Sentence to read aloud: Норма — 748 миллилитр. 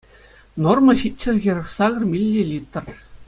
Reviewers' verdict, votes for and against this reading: rejected, 0, 2